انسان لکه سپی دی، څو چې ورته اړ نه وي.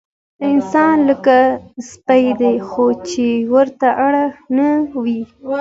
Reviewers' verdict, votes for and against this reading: accepted, 2, 0